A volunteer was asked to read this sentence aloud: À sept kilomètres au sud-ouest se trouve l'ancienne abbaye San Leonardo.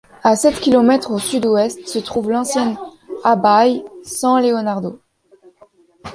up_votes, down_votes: 0, 2